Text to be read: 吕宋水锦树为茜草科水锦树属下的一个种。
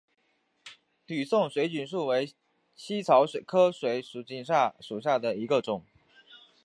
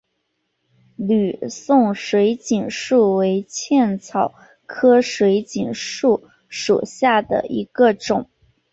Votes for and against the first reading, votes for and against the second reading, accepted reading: 2, 3, 3, 1, second